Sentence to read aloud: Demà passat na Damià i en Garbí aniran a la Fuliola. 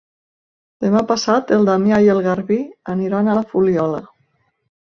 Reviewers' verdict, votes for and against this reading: rejected, 0, 2